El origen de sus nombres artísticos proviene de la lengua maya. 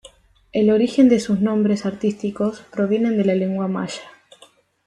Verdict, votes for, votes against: accepted, 2, 0